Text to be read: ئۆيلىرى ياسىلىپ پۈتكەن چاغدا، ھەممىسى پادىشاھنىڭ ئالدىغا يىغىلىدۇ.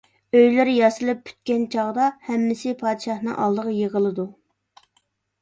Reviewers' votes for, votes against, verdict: 2, 0, accepted